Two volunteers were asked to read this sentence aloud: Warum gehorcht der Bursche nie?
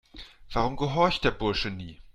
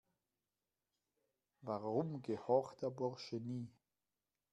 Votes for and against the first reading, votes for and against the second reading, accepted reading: 2, 0, 0, 2, first